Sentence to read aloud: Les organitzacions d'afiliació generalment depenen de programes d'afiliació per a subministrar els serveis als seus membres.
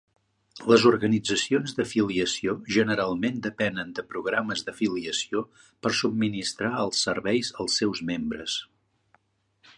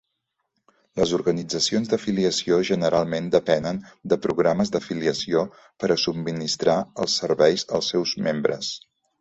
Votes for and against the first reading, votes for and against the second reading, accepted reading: 1, 2, 2, 0, second